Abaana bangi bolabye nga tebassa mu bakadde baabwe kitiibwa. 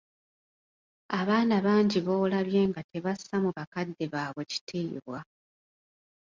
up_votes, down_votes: 2, 0